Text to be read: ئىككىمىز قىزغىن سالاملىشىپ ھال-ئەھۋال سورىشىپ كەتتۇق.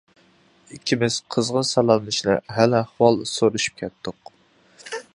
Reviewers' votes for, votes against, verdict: 0, 2, rejected